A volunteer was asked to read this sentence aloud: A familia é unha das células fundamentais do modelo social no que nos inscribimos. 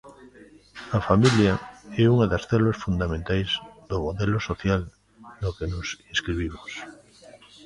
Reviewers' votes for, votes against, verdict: 1, 2, rejected